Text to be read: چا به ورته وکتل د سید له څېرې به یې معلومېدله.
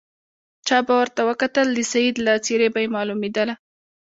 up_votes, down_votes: 2, 0